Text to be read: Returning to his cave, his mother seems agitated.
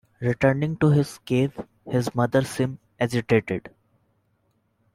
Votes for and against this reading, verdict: 2, 0, accepted